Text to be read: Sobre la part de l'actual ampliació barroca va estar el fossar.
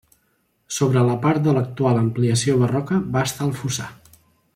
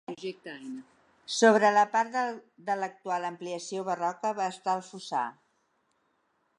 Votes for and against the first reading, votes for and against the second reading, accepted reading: 2, 0, 1, 2, first